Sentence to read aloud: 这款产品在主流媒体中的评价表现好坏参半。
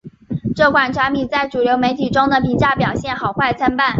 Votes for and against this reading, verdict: 3, 0, accepted